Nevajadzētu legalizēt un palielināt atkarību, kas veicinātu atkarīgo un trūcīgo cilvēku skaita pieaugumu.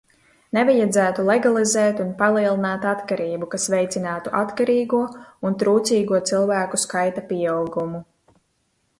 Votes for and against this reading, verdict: 2, 0, accepted